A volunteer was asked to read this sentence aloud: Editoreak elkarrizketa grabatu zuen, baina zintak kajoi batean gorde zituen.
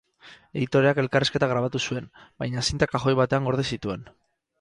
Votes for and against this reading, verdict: 2, 2, rejected